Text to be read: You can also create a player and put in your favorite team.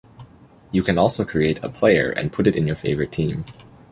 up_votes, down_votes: 0, 2